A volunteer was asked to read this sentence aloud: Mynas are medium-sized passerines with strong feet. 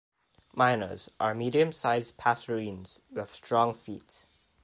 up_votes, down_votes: 2, 0